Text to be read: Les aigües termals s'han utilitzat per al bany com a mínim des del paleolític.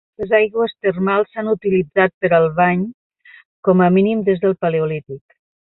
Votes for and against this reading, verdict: 1, 2, rejected